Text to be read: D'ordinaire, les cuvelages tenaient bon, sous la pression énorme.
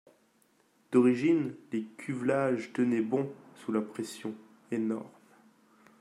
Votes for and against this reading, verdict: 0, 2, rejected